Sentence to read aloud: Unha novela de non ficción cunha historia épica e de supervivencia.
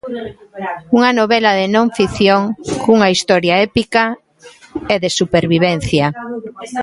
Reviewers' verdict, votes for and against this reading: accepted, 2, 0